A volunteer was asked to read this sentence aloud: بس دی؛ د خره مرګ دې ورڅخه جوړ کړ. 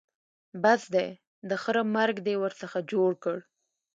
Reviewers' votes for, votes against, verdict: 2, 0, accepted